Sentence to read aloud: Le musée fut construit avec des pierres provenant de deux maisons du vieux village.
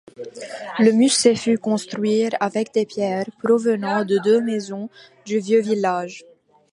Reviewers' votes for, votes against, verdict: 1, 2, rejected